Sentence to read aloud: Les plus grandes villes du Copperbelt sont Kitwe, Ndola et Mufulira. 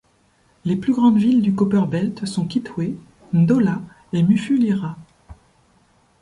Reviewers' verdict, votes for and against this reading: accepted, 2, 0